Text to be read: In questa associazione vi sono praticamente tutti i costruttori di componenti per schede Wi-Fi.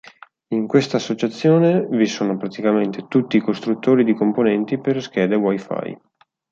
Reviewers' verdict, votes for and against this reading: accepted, 4, 0